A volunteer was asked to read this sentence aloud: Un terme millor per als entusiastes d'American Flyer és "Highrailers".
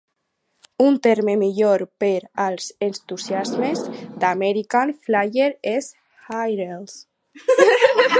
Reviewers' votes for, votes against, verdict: 2, 4, rejected